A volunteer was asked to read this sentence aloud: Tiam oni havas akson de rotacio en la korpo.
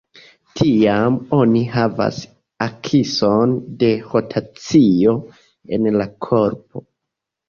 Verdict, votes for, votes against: rejected, 0, 2